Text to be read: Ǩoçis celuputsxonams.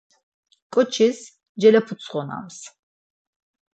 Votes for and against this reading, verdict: 2, 4, rejected